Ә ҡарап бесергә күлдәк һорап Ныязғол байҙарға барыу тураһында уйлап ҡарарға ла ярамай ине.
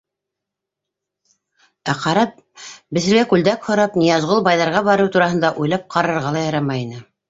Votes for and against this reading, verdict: 1, 2, rejected